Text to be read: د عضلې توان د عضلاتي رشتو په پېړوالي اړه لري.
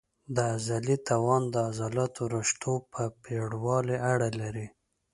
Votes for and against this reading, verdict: 2, 1, accepted